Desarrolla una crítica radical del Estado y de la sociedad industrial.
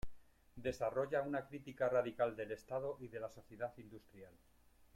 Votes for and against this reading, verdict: 1, 2, rejected